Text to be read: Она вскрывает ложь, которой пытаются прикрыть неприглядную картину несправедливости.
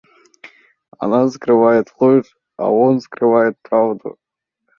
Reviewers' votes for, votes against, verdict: 0, 2, rejected